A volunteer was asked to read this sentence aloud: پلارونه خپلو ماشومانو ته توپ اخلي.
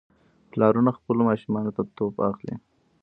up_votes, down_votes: 2, 0